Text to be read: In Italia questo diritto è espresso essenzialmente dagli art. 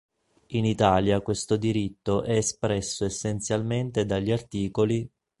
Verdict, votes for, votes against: rejected, 1, 2